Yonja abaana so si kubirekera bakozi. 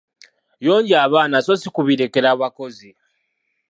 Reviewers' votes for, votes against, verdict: 2, 1, accepted